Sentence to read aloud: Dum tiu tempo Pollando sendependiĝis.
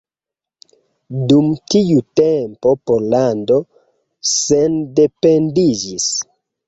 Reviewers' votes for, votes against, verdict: 2, 0, accepted